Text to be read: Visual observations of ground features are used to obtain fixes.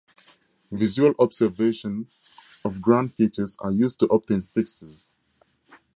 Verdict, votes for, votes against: accepted, 2, 0